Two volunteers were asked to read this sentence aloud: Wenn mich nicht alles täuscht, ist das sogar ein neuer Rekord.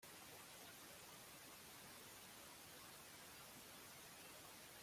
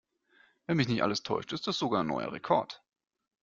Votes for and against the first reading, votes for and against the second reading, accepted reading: 0, 2, 2, 0, second